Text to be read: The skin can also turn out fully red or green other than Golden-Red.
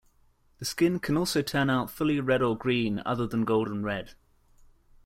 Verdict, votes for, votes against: accepted, 2, 0